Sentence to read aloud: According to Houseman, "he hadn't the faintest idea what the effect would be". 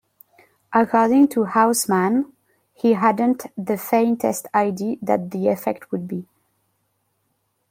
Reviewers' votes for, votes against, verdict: 1, 2, rejected